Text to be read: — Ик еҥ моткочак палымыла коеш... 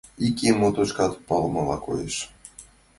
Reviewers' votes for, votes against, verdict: 1, 2, rejected